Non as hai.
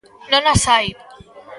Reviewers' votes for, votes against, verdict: 2, 0, accepted